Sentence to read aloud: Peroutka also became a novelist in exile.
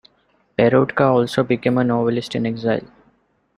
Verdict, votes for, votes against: rejected, 0, 2